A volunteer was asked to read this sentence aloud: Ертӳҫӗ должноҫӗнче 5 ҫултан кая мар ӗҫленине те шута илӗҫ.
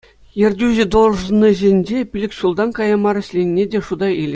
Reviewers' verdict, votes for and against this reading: rejected, 0, 2